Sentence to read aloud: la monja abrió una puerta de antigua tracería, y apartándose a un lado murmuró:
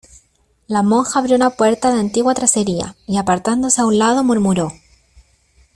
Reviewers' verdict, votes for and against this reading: accepted, 2, 0